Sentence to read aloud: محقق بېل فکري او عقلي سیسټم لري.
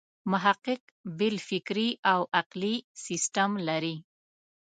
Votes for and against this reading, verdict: 2, 0, accepted